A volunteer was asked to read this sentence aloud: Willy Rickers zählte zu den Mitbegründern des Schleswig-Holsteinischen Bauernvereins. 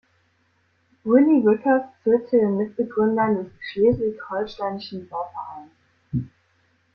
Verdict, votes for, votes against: rejected, 0, 2